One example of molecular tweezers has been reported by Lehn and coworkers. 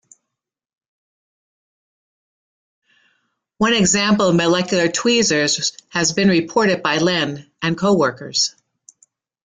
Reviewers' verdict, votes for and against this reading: accepted, 2, 1